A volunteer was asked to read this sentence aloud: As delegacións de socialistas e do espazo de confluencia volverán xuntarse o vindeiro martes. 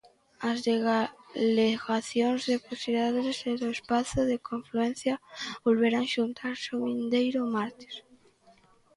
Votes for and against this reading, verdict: 0, 2, rejected